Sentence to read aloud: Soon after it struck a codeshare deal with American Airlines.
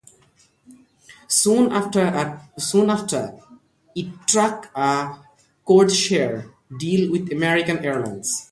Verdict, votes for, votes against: rejected, 0, 2